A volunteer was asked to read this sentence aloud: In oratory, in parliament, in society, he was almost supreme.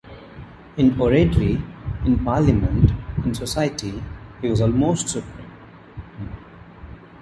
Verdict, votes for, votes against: accepted, 2, 0